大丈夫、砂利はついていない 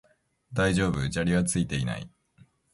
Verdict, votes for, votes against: accepted, 2, 0